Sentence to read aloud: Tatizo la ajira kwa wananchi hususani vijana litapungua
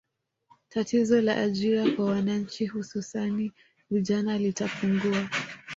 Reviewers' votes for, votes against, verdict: 1, 2, rejected